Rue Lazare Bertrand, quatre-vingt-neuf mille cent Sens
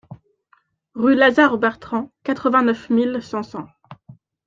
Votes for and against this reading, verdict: 0, 2, rejected